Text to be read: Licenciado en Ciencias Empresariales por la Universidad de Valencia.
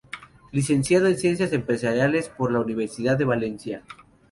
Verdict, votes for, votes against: accepted, 2, 0